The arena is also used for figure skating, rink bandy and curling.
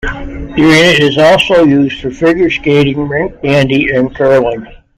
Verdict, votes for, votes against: rejected, 0, 2